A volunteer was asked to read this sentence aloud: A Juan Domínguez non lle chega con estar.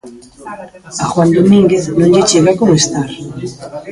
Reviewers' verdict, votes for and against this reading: rejected, 1, 2